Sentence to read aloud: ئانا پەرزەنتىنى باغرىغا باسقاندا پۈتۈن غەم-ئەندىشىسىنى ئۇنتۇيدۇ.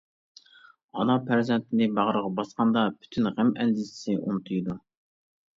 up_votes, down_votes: 0, 2